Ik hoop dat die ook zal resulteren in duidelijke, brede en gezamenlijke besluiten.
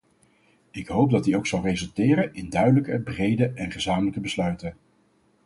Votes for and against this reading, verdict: 4, 0, accepted